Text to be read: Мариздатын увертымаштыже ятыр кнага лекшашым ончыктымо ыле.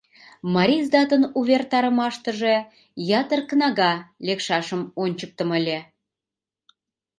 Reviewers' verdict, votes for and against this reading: rejected, 0, 2